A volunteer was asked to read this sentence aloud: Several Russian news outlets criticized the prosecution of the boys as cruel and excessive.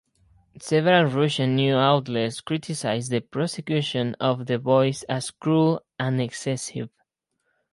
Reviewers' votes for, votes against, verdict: 2, 4, rejected